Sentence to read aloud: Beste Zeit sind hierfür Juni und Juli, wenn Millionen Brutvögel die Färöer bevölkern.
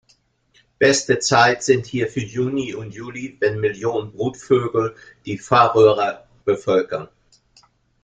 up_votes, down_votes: 0, 2